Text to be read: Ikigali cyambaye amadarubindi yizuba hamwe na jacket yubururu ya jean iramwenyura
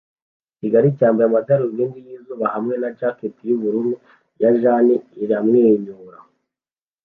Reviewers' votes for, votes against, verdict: 2, 0, accepted